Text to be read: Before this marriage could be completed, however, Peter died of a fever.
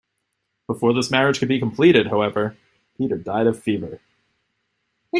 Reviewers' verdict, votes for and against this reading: rejected, 1, 2